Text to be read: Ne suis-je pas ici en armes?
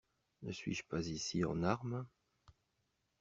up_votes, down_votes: 2, 0